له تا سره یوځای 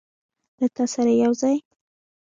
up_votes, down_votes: 2, 1